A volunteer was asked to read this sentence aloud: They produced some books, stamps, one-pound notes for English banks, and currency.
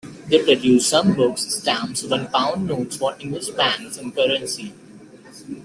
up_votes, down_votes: 0, 2